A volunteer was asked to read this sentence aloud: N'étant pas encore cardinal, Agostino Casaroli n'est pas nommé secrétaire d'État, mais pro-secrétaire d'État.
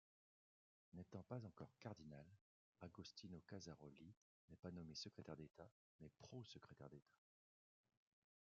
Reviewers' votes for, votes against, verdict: 0, 2, rejected